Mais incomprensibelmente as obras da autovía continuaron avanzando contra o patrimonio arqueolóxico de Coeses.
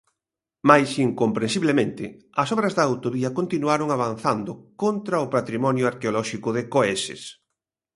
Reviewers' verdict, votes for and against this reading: rejected, 0, 2